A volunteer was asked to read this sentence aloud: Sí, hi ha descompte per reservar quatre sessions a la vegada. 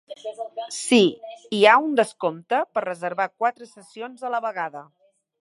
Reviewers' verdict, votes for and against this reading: rejected, 0, 2